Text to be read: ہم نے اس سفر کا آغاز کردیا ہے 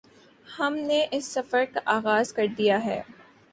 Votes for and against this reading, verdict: 3, 0, accepted